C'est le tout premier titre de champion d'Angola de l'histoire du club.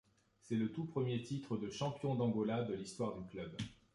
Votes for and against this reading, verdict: 2, 0, accepted